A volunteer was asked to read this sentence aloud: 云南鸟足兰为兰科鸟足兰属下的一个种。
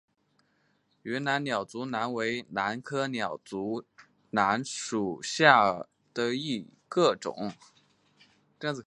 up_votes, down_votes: 5, 1